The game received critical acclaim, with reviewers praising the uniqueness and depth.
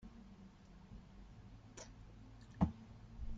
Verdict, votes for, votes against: rejected, 0, 2